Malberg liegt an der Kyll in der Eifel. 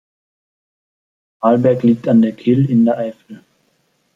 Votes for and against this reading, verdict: 2, 0, accepted